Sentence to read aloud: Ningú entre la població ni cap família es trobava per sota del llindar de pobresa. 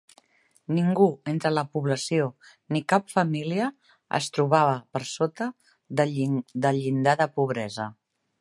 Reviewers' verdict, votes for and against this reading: rejected, 0, 2